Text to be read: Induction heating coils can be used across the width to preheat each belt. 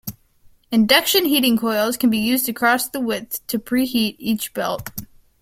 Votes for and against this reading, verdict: 2, 1, accepted